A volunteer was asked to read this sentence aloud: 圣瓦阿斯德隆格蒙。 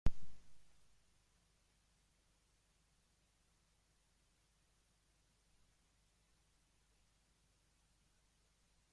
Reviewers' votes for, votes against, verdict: 0, 2, rejected